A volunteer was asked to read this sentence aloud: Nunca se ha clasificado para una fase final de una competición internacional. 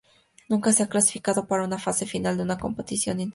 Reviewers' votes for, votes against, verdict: 2, 0, accepted